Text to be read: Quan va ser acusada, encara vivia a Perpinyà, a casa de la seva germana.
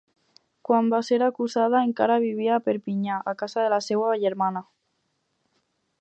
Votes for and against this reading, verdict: 4, 0, accepted